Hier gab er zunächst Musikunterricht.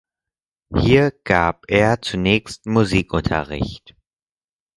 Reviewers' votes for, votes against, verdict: 4, 0, accepted